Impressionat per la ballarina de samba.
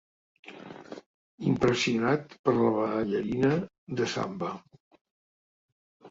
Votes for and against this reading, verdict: 1, 2, rejected